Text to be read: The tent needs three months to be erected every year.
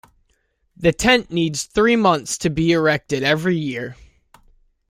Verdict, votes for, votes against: accepted, 2, 0